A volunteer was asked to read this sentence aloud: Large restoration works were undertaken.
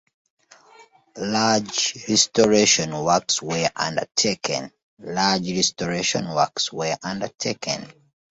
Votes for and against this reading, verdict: 1, 2, rejected